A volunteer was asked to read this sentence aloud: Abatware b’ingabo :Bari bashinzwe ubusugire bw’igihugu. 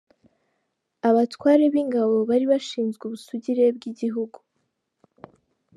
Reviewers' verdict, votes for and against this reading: accepted, 2, 0